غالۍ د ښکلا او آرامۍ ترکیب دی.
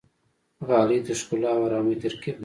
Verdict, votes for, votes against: rejected, 1, 2